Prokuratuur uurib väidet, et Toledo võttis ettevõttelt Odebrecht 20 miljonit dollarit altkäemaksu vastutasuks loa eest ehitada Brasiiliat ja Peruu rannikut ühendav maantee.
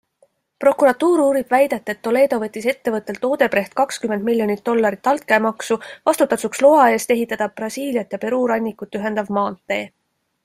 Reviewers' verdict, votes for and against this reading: rejected, 0, 2